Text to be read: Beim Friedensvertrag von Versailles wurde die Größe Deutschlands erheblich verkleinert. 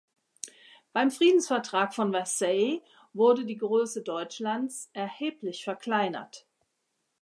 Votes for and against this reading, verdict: 2, 0, accepted